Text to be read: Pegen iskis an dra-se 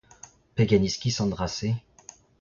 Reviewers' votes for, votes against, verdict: 0, 2, rejected